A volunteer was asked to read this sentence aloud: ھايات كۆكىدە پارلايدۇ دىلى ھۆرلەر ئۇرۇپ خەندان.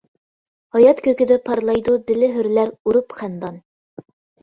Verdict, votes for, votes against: accepted, 2, 0